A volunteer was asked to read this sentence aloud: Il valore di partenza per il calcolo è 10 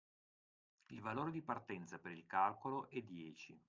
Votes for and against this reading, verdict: 0, 2, rejected